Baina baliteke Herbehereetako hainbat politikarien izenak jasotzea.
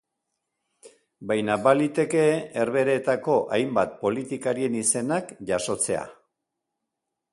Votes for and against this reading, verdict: 2, 0, accepted